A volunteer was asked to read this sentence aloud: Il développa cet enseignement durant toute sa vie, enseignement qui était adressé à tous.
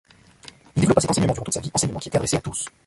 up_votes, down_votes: 0, 2